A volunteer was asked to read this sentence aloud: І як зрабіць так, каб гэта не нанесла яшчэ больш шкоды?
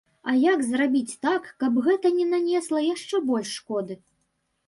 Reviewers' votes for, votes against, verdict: 1, 2, rejected